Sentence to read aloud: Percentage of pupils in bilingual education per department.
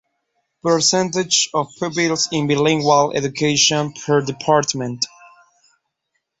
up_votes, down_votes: 2, 0